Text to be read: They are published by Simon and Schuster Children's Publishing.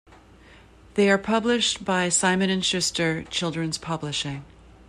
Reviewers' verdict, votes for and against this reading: accepted, 2, 0